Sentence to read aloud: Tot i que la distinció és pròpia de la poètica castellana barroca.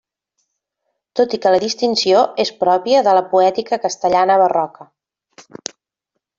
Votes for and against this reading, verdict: 1, 2, rejected